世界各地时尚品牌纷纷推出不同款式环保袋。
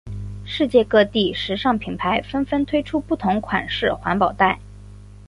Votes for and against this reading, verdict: 2, 0, accepted